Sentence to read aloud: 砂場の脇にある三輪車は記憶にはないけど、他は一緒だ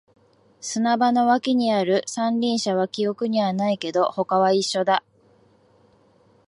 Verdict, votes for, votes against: accepted, 2, 0